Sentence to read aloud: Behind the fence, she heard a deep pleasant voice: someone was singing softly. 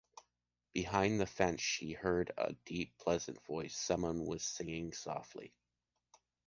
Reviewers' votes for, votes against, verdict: 2, 0, accepted